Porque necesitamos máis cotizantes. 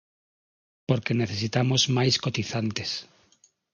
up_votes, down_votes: 6, 0